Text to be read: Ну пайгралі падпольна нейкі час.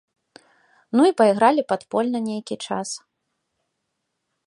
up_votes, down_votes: 1, 2